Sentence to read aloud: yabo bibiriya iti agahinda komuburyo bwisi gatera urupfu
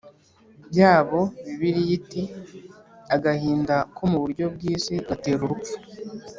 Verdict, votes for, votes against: rejected, 1, 2